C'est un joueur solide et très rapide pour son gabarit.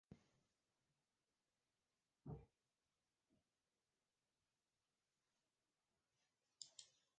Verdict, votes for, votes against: rejected, 1, 2